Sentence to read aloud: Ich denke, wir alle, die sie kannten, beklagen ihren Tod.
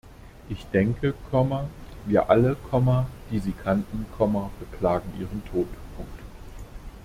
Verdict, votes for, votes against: rejected, 0, 2